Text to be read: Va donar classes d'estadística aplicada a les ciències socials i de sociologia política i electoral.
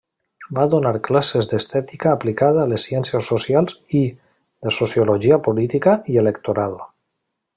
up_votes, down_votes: 0, 2